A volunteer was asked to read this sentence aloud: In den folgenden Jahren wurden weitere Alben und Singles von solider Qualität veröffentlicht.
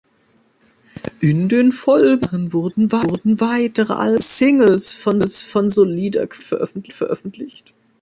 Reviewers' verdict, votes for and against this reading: rejected, 0, 2